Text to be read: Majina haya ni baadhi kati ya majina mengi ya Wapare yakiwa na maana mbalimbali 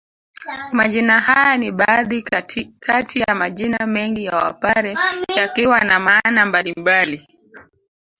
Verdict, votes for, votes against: rejected, 1, 2